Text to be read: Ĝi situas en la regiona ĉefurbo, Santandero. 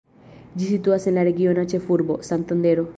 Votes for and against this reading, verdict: 2, 1, accepted